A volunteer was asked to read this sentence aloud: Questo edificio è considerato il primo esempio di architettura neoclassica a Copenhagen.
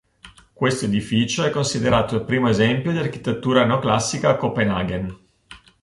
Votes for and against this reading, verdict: 2, 0, accepted